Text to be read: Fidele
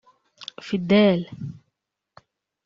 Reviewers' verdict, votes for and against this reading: rejected, 0, 2